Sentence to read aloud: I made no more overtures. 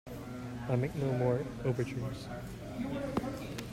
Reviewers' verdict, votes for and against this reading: rejected, 1, 2